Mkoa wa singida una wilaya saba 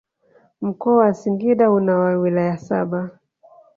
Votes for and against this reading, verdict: 1, 2, rejected